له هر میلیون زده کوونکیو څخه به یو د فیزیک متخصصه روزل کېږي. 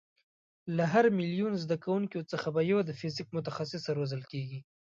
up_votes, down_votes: 2, 0